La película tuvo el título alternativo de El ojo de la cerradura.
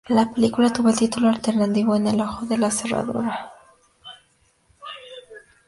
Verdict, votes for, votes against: rejected, 0, 2